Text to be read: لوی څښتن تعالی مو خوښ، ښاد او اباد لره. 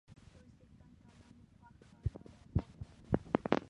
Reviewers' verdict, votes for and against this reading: rejected, 0, 2